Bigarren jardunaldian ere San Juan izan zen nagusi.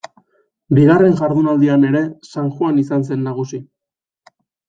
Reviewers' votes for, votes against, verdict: 2, 0, accepted